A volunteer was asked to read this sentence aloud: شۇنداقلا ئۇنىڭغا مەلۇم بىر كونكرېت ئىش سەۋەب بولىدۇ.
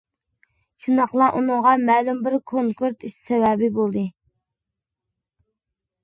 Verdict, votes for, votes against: rejected, 0, 2